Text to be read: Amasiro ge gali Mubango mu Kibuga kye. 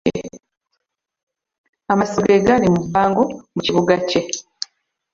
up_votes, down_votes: 1, 2